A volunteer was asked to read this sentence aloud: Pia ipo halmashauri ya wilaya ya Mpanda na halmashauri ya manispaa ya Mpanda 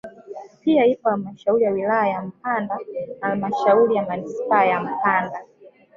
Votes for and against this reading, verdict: 1, 3, rejected